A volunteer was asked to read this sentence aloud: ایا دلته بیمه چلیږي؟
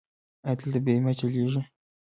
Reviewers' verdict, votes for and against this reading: accepted, 2, 1